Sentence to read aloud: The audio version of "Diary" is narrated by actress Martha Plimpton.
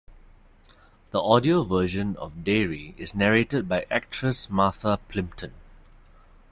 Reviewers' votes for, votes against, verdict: 1, 2, rejected